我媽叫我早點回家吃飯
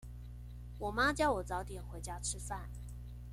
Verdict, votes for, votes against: accepted, 2, 0